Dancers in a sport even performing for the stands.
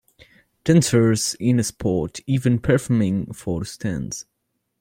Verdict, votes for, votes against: rejected, 0, 2